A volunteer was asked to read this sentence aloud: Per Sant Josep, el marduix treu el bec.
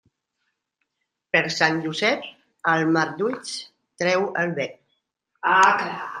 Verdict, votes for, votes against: rejected, 0, 2